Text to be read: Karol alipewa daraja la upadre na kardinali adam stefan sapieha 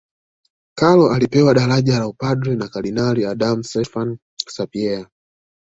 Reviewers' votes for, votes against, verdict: 1, 2, rejected